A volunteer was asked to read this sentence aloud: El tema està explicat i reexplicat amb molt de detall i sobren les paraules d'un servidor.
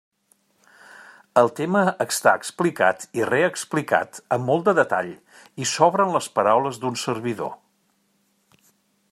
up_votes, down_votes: 1, 2